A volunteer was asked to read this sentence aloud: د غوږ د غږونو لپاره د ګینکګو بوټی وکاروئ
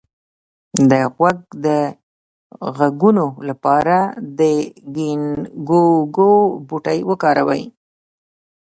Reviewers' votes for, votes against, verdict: 1, 2, rejected